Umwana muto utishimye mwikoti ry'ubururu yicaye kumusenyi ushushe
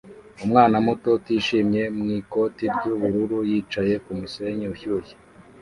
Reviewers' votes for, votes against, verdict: 0, 2, rejected